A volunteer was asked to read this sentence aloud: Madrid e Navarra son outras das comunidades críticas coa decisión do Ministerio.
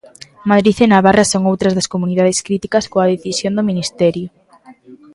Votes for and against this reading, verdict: 2, 0, accepted